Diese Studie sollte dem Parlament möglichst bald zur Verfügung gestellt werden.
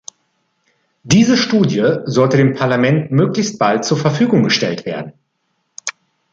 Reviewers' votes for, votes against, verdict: 2, 0, accepted